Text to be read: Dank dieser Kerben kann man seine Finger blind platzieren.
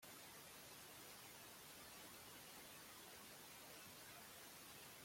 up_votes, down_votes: 0, 2